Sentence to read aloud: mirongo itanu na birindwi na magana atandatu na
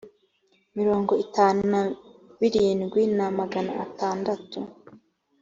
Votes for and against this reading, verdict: 1, 2, rejected